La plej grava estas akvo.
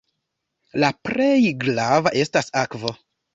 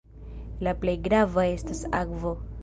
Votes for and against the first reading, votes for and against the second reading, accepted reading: 1, 2, 2, 1, second